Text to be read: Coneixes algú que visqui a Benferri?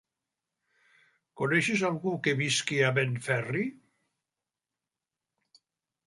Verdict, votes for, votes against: accepted, 3, 0